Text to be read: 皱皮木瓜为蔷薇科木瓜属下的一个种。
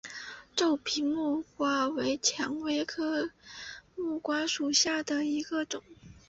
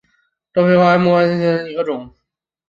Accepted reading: first